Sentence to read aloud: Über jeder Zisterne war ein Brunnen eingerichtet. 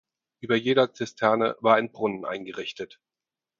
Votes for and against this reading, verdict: 4, 0, accepted